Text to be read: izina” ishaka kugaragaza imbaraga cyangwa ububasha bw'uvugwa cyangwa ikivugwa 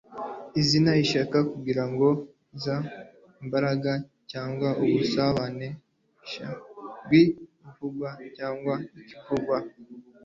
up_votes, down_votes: 1, 2